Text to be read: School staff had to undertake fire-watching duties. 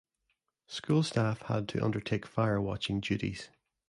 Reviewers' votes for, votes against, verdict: 2, 0, accepted